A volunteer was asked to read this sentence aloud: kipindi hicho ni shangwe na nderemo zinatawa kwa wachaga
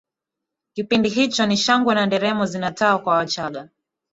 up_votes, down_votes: 2, 1